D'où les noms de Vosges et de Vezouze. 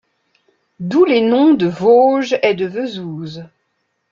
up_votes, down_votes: 2, 1